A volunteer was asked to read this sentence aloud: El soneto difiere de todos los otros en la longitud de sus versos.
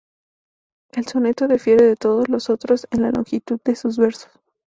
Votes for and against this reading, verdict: 2, 0, accepted